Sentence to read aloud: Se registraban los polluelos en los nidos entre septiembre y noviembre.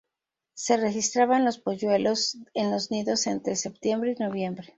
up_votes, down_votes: 2, 0